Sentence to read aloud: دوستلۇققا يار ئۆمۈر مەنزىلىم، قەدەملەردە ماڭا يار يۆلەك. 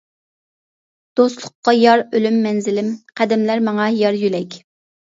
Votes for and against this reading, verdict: 0, 2, rejected